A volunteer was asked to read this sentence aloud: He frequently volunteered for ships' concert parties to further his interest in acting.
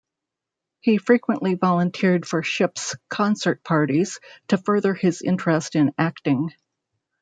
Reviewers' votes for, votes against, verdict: 2, 0, accepted